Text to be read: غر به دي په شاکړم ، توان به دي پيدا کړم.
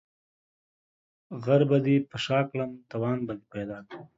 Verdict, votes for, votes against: accepted, 2, 0